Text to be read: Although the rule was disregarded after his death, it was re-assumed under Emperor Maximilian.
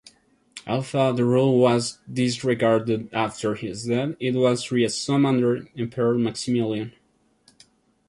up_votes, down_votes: 1, 2